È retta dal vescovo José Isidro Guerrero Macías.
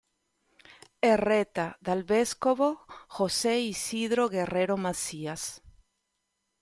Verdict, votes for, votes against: accepted, 2, 0